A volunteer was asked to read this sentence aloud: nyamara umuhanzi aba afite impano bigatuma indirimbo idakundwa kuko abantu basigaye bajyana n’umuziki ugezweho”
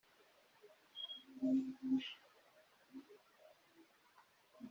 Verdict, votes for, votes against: rejected, 0, 3